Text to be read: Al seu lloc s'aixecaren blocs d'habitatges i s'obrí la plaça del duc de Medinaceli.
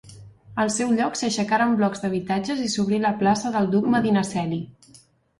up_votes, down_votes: 1, 2